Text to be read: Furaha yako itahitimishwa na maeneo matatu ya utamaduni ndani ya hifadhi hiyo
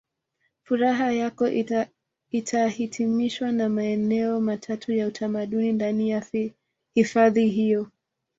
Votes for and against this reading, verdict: 2, 0, accepted